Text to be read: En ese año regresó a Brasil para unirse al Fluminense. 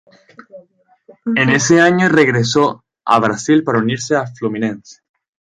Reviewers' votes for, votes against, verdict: 2, 0, accepted